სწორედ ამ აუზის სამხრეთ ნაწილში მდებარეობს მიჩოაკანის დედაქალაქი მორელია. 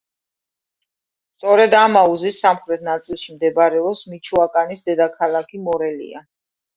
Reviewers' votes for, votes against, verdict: 2, 0, accepted